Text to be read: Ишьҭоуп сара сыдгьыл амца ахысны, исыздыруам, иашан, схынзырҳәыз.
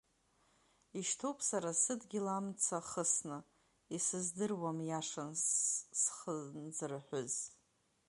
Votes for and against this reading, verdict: 0, 2, rejected